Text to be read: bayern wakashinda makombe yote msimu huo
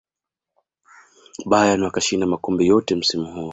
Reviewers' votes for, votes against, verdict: 2, 0, accepted